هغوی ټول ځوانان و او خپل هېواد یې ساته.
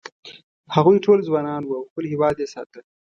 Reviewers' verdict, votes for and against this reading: accepted, 2, 0